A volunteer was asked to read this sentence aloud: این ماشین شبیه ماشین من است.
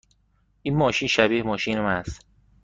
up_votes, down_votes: 2, 1